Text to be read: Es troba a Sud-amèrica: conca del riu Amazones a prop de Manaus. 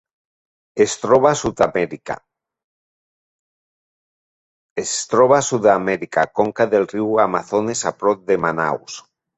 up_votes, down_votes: 0, 2